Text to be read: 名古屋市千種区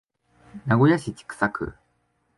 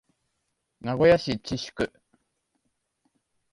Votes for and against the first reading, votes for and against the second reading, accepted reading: 2, 1, 1, 2, first